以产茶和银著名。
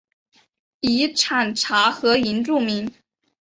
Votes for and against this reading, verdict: 5, 0, accepted